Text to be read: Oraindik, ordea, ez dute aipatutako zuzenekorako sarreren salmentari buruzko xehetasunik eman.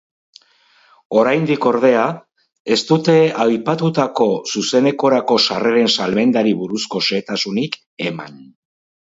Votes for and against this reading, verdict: 2, 2, rejected